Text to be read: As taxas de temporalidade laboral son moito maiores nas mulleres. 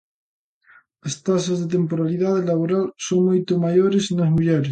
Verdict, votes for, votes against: rejected, 1, 2